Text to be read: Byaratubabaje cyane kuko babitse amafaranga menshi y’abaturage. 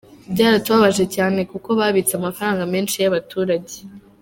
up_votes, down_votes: 2, 0